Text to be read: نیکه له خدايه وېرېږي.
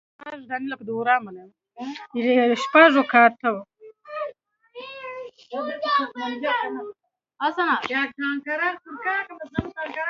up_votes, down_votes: 0, 2